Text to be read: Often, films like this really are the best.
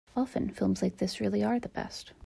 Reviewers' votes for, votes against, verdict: 2, 0, accepted